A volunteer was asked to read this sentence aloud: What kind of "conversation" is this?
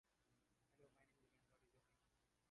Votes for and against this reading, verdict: 0, 2, rejected